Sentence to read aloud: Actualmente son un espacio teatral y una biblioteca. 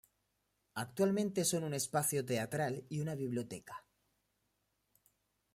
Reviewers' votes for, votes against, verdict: 2, 0, accepted